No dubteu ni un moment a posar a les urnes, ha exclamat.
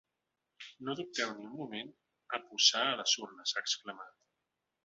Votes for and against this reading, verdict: 2, 0, accepted